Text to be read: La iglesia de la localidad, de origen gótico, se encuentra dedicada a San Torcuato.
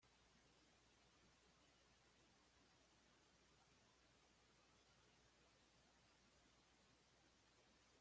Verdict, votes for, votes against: rejected, 0, 2